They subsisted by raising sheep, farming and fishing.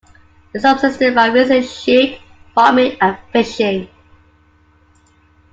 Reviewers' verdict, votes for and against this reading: accepted, 2, 0